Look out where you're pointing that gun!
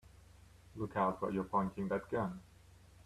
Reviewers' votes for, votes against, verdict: 2, 0, accepted